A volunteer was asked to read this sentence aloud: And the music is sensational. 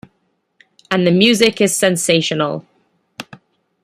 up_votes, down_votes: 2, 0